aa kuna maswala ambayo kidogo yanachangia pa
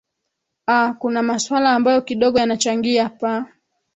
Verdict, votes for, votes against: accepted, 3, 0